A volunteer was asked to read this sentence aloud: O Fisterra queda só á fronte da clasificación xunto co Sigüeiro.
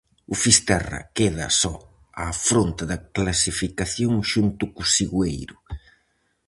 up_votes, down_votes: 4, 0